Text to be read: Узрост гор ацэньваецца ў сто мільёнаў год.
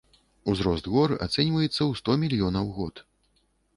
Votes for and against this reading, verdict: 2, 0, accepted